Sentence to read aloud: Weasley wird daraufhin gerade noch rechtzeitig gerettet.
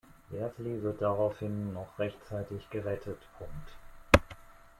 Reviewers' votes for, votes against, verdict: 0, 2, rejected